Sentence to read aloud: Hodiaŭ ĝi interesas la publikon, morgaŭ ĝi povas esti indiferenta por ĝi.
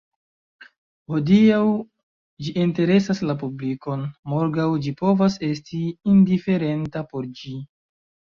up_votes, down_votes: 1, 2